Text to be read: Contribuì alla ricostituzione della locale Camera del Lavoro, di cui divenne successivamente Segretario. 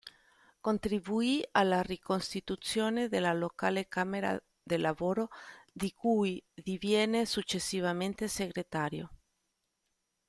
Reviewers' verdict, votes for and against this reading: rejected, 1, 2